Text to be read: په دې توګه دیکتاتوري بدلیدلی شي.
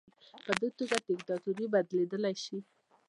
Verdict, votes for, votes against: rejected, 0, 2